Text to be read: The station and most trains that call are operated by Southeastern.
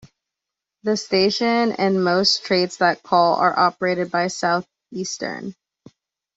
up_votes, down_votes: 2, 0